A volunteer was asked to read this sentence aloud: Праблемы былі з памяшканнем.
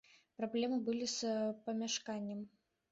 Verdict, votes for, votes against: accepted, 2, 0